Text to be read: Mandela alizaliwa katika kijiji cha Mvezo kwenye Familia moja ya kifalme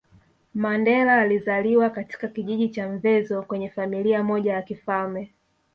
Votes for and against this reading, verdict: 1, 2, rejected